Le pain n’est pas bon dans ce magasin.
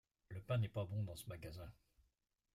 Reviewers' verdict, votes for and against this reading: accepted, 2, 0